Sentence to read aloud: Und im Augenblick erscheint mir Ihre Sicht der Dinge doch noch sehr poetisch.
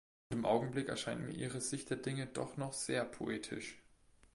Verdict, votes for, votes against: rejected, 1, 2